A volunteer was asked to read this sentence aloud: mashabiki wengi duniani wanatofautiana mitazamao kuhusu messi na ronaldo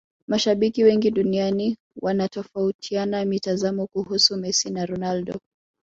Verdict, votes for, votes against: rejected, 1, 2